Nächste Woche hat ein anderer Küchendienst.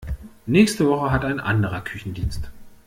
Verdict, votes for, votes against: accepted, 2, 0